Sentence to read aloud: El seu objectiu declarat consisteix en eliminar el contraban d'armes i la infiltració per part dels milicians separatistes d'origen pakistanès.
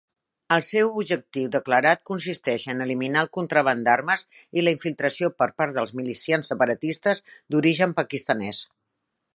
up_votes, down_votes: 2, 0